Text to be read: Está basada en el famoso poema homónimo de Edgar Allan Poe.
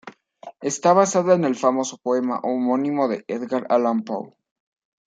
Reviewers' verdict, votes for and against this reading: accepted, 2, 0